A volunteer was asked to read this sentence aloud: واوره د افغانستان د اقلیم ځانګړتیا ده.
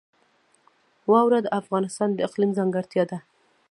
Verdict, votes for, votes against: accepted, 2, 1